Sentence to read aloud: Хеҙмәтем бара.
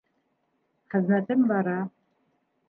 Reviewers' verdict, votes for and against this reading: accepted, 2, 0